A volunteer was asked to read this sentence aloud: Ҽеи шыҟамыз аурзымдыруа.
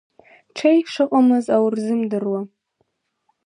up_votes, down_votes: 1, 2